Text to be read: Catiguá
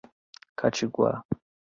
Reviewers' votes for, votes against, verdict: 2, 0, accepted